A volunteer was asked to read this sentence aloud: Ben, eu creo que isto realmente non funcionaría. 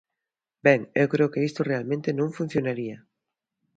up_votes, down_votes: 2, 0